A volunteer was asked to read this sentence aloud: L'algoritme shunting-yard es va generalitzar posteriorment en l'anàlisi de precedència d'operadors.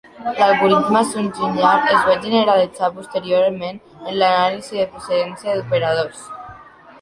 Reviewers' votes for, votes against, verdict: 0, 2, rejected